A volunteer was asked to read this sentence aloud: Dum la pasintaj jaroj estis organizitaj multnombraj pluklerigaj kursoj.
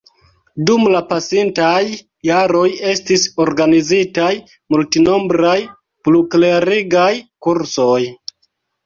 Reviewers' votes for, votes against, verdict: 2, 0, accepted